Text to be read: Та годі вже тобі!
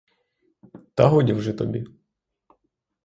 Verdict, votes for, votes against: rejected, 0, 3